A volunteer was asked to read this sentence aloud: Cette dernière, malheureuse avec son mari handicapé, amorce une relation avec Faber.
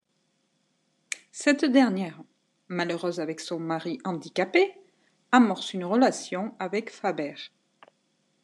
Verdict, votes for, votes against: accepted, 2, 0